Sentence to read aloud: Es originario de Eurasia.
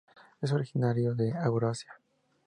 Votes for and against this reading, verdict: 2, 0, accepted